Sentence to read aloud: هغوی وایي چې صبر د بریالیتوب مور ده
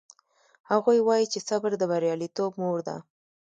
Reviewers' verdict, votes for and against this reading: rejected, 0, 2